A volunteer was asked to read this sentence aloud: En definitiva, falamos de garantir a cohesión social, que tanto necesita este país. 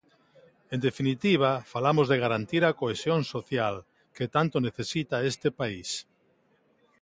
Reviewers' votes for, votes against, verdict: 2, 0, accepted